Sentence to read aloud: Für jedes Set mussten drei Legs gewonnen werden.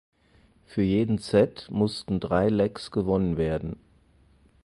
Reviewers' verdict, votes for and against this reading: rejected, 0, 4